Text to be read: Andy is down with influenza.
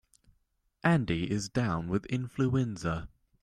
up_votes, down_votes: 2, 0